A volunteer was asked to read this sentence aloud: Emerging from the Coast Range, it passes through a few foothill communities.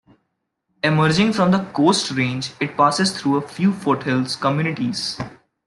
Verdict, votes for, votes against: rejected, 0, 2